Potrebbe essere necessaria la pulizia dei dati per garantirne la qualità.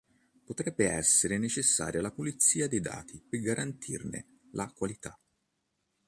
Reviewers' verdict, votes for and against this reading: accepted, 3, 0